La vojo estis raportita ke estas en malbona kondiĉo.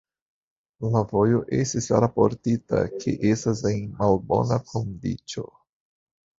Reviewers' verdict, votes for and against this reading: accepted, 2, 1